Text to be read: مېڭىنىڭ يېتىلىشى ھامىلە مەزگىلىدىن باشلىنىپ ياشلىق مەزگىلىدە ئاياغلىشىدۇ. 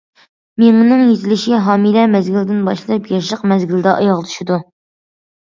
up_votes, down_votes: 2, 0